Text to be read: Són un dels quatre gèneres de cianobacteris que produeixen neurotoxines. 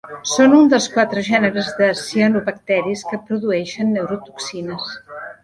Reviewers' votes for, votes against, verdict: 3, 0, accepted